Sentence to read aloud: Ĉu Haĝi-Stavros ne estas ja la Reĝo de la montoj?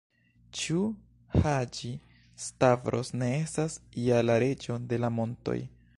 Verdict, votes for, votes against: rejected, 0, 2